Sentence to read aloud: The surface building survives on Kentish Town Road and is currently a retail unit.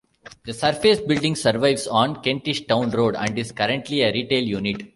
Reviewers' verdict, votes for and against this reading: accepted, 2, 0